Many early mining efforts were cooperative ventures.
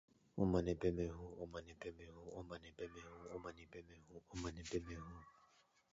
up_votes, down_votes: 0, 6